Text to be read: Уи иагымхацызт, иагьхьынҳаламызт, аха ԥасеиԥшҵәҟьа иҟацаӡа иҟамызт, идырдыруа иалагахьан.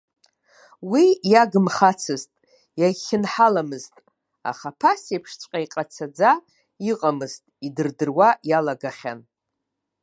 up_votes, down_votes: 1, 2